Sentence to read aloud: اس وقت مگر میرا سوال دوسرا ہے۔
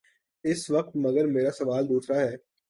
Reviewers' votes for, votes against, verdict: 2, 0, accepted